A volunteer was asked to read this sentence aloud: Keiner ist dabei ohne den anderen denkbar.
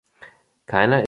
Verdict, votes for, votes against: rejected, 0, 2